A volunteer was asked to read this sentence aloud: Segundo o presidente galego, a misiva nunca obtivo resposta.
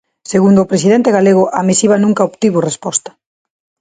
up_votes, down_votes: 2, 0